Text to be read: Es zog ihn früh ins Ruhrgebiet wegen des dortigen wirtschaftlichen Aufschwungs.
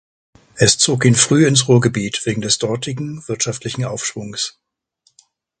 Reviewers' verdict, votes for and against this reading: accepted, 2, 0